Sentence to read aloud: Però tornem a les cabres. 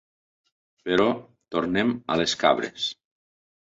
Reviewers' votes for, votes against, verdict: 3, 0, accepted